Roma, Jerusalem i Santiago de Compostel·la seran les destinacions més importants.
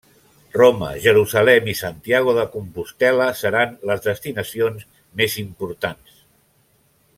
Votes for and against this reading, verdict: 2, 0, accepted